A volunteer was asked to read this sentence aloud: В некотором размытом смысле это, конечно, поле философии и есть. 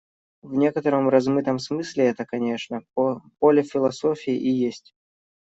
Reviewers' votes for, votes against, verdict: 1, 2, rejected